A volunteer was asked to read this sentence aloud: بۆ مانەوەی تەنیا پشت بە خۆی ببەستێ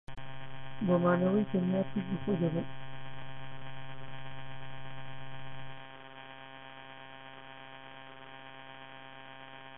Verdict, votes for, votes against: rejected, 0, 7